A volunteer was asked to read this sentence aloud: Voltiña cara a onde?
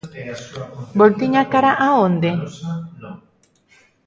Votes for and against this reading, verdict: 0, 2, rejected